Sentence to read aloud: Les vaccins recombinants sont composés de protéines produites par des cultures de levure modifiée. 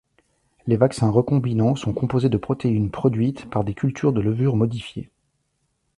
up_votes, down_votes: 2, 0